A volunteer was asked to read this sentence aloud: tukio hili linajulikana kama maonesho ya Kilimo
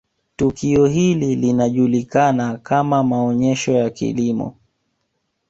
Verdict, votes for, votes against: accepted, 2, 0